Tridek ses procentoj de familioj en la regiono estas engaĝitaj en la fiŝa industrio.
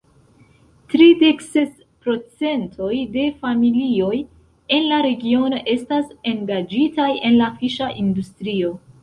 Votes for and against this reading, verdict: 1, 2, rejected